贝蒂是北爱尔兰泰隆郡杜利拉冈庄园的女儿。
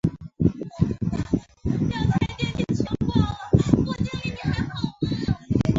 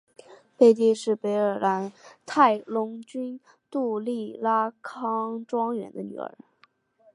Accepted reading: second